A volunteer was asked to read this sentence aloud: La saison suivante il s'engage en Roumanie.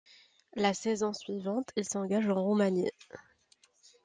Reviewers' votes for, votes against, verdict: 2, 0, accepted